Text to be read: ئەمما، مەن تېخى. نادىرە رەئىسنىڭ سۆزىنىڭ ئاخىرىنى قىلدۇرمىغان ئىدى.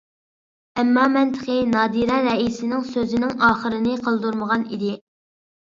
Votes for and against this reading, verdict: 2, 0, accepted